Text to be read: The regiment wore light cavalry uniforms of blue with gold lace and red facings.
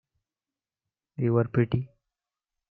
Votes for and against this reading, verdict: 0, 2, rejected